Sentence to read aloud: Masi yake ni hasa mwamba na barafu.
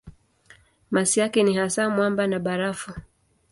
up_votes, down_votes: 2, 0